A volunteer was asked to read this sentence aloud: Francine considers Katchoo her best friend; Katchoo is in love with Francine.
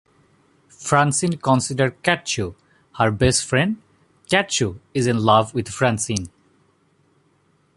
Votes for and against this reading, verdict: 2, 0, accepted